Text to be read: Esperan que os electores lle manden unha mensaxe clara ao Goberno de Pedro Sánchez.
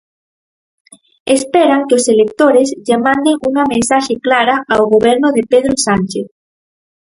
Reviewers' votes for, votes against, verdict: 4, 0, accepted